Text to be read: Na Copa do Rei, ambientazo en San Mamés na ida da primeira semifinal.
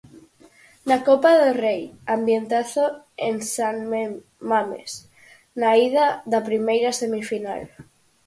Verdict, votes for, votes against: rejected, 2, 4